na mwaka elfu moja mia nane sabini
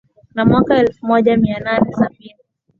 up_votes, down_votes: 2, 0